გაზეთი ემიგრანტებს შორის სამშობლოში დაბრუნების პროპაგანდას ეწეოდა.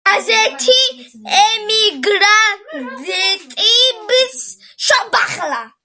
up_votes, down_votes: 0, 2